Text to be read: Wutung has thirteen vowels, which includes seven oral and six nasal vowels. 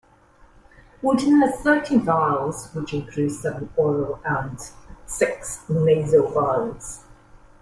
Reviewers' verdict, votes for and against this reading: rejected, 0, 2